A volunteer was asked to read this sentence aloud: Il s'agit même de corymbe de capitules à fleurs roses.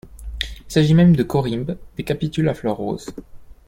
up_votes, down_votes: 1, 2